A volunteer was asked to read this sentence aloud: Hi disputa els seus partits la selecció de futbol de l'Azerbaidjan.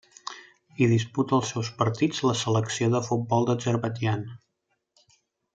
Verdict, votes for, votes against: rejected, 0, 2